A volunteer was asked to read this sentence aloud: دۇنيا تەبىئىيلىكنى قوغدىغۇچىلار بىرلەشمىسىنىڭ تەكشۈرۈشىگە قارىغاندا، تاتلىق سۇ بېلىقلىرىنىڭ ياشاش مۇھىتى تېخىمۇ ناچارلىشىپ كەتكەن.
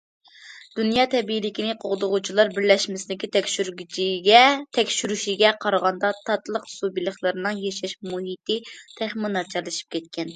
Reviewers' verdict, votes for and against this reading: rejected, 0, 2